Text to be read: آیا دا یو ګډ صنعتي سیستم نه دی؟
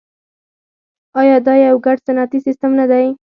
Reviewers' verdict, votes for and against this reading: rejected, 0, 4